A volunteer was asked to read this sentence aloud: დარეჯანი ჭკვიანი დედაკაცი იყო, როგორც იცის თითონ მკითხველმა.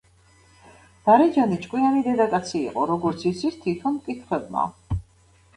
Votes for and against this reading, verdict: 2, 0, accepted